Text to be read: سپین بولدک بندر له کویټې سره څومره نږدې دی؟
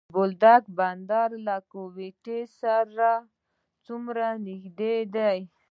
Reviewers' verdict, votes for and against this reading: accepted, 2, 1